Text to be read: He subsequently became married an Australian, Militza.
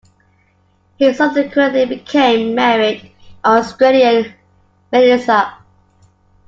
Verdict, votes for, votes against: rejected, 0, 2